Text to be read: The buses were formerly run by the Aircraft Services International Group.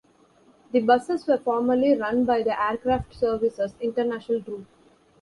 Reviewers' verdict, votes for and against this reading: accepted, 2, 0